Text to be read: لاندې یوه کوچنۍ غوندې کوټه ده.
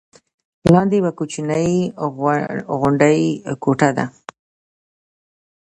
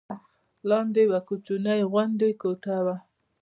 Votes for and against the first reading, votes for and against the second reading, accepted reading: 0, 2, 2, 1, second